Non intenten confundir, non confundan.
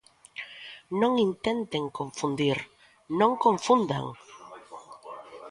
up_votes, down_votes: 0, 2